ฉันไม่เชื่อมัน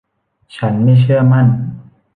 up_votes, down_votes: 0, 2